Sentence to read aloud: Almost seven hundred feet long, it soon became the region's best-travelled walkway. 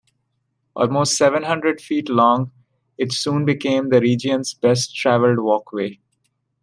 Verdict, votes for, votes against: accepted, 2, 0